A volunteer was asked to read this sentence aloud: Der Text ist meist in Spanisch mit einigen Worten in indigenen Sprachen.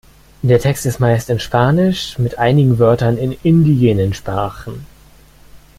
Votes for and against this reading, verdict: 0, 2, rejected